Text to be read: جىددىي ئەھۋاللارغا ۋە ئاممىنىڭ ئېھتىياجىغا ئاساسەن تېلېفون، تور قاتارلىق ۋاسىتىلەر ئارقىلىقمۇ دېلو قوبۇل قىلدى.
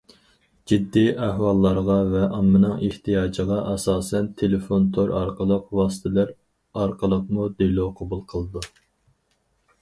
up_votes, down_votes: 2, 2